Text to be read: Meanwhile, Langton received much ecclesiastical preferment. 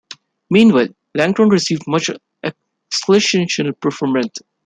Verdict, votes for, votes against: rejected, 1, 3